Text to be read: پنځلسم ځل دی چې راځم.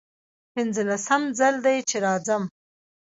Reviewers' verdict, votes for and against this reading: rejected, 0, 2